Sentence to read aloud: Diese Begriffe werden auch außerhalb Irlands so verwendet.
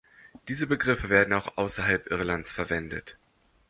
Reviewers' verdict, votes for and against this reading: rejected, 0, 2